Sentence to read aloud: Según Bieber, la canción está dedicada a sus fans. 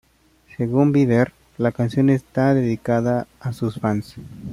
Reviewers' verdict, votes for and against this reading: accepted, 2, 0